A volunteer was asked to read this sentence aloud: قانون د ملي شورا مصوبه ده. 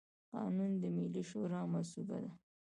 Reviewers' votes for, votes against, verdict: 1, 2, rejected